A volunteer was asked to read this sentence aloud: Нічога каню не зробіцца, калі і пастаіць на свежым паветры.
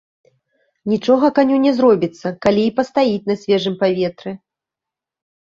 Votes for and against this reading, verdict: 2, 0, accepted